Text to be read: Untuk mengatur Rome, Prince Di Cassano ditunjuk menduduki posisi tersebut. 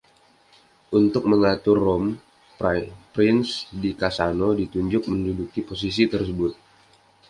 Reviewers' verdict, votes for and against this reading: rejected, 1, 2